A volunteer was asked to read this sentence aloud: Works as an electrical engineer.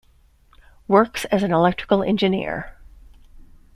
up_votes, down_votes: 2, 0